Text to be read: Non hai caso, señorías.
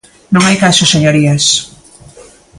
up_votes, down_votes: 2, 0